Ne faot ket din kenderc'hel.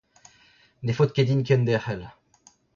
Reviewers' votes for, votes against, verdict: 2, 0, accepted